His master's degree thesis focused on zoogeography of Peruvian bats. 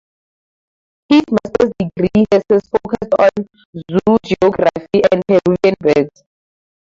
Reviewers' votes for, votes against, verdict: 0, 2, rejected